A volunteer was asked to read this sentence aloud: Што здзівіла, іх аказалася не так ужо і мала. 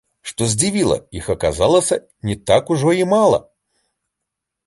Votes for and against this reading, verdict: 2, 0, accepted